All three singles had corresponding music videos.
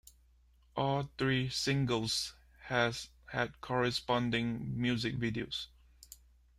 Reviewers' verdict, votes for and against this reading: rejected, 0, 2